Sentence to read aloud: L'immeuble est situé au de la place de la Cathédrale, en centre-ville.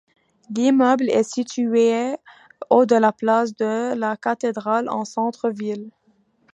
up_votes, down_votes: 2, 1